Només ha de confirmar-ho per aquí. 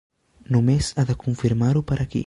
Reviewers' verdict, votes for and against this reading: accepted, 3, 0